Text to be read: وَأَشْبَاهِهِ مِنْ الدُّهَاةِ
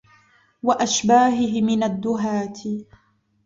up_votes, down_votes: 2, 0